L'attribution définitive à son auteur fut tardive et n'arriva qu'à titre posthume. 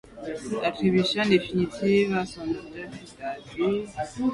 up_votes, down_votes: 1, 2